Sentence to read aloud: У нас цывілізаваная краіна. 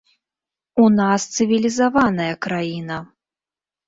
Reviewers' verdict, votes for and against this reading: accepted, 2, 0